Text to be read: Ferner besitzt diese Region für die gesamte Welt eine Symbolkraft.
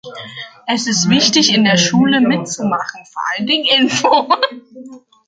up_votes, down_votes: 0, 2